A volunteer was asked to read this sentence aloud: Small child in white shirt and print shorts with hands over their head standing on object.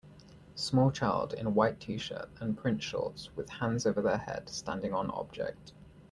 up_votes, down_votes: 1, 2